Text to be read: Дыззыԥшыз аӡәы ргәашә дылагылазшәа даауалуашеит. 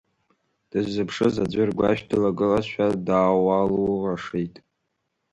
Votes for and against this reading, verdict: 1, 2, rejected